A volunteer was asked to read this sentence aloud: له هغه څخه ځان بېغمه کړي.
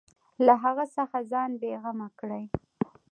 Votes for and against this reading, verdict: 2, 0, accepted